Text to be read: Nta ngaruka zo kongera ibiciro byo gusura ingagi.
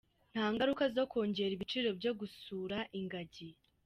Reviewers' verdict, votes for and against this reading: accepted, 2, 0